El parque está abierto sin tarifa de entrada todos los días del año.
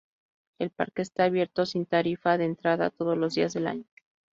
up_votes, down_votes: 2, 0